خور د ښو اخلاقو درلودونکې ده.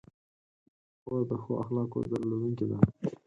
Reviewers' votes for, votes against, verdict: 4, 2, accepted